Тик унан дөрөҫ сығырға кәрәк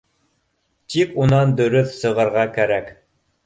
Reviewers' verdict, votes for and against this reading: accepted, 2, 1